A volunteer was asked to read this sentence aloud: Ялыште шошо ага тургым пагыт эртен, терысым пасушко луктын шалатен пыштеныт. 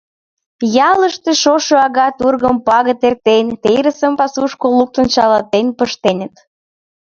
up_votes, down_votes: 1, 2